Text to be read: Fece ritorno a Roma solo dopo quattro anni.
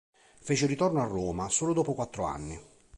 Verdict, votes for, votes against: accepted, 2, 0